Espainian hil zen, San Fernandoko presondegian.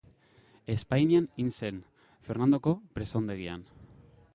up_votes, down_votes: 2, 2